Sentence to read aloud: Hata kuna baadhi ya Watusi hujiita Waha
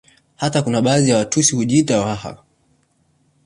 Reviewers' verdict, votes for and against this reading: accepted, 2, 0